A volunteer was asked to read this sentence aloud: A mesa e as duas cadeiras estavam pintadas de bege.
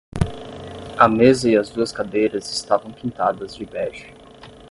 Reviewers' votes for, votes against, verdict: 0, 5, rejected